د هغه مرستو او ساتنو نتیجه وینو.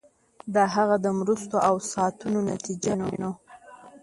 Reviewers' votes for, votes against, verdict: 1, 2, rejected